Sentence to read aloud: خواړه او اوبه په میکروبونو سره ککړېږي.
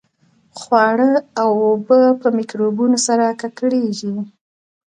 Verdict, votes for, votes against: accepted, 2, 0